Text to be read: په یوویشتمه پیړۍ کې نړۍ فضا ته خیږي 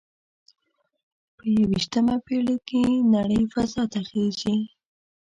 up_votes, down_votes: 1, 2